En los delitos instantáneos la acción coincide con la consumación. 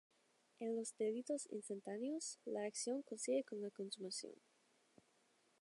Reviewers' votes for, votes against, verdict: 0, 2, rejected